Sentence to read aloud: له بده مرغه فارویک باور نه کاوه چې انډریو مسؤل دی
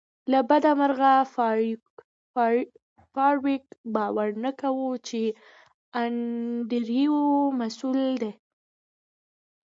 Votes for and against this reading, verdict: 1, 2, rejected